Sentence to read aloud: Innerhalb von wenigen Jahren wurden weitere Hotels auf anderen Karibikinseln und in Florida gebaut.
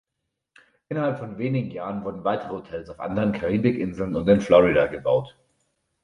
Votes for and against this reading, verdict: 2, 0, accepted